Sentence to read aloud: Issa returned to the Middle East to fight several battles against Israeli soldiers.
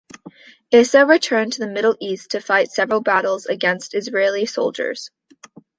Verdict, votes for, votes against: accepted, 2, 0